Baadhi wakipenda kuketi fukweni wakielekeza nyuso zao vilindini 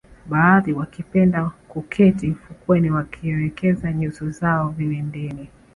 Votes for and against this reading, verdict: 0, 2, rejected